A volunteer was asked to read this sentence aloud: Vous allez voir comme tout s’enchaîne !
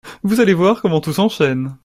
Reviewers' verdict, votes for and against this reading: rejected, 0, 2